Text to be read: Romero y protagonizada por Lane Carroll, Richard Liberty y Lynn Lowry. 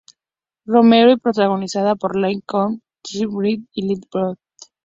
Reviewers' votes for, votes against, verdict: 0, 2, rejected